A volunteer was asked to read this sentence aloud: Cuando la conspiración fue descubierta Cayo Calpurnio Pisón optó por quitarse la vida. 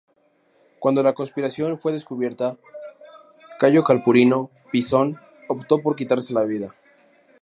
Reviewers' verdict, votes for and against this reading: rejected, 0, 2